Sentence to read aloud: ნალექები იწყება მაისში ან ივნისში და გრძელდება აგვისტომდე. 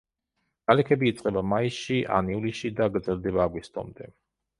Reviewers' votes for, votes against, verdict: 2, 0, accepted